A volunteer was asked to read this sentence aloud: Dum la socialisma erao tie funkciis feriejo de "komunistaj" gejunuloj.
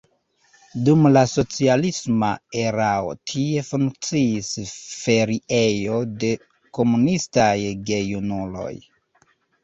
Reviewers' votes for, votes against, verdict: 2, 0, accepted